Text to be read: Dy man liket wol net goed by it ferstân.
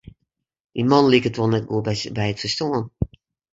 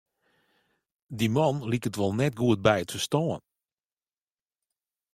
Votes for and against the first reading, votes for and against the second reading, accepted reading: 0, 2, 2, 0, second